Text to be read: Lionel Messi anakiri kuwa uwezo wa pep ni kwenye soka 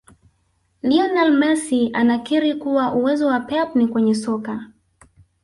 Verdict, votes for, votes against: accepted, 2, 1